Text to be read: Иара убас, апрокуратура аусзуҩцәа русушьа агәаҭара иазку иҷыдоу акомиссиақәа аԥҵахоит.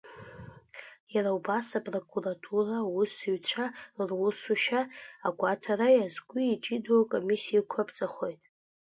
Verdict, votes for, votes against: accepted, 2, 1